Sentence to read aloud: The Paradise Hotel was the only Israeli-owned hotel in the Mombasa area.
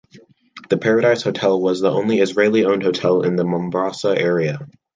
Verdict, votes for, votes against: accepted, 2, 0